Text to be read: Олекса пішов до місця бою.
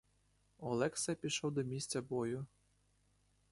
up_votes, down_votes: 2, 0